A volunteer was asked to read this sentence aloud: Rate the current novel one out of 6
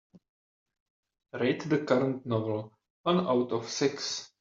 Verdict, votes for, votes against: rejected, 0, 2